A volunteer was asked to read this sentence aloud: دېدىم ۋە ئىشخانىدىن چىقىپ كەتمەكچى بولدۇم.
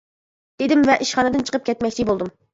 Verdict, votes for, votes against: accepted, 2, 0